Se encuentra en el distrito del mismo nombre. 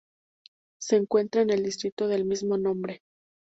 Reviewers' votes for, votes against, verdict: 2, 0, accepted